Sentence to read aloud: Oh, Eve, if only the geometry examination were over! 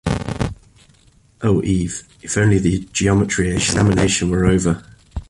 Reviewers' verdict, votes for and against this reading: rejected, 0, 2